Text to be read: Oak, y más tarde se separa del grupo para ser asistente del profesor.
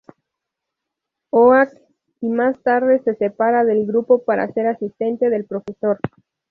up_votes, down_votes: 0, 2